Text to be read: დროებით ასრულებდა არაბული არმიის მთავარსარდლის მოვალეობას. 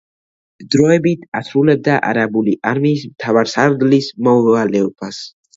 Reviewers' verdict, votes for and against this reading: rejected, 1, 2